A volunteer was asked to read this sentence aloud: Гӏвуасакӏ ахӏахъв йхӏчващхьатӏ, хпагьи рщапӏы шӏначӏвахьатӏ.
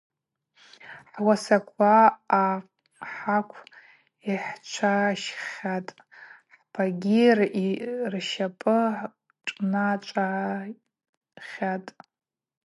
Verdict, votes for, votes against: rejected, 0, 4